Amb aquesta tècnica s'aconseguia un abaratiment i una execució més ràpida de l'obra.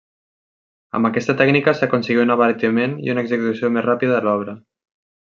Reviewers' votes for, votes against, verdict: 1, 2, rejected